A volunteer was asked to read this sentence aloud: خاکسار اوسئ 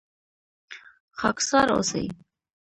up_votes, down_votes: 2, 0